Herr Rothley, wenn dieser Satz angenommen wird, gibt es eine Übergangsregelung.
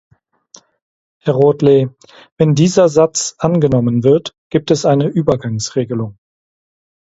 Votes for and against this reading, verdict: 4, 0, accepted